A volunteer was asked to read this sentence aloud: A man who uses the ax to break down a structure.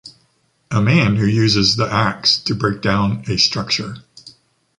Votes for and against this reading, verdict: 2, 0, accepted